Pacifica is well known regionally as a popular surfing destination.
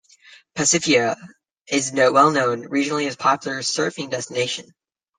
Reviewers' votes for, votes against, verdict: 0, 2, rejected